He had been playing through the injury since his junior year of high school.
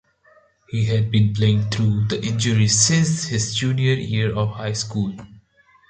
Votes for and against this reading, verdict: 2, 0, accepted